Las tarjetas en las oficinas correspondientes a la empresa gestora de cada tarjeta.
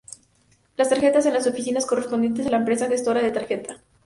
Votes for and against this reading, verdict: 0, 2, rejected